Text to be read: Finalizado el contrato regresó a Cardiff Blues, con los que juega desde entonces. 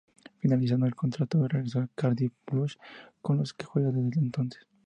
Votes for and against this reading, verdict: 0, 2, rejected